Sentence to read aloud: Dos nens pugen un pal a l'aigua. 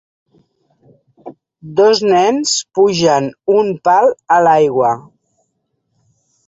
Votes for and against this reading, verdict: 2, 0, accepted